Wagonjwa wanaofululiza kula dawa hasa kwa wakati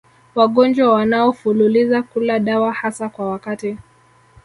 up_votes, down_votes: 2, 1